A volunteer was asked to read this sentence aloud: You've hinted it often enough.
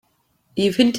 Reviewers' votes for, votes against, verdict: 0, 3, rejected